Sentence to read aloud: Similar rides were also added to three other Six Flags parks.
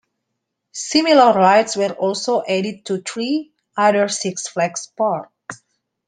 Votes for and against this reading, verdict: 2, 0, accepted